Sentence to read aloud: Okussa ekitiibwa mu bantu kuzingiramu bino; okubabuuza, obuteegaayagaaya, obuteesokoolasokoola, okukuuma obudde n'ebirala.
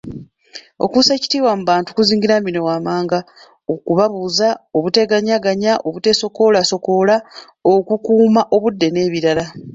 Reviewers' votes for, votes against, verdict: 2, 0, accepted